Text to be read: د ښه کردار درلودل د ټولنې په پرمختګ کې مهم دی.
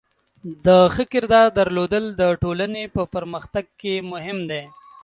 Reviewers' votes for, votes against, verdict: 2, 0, accepted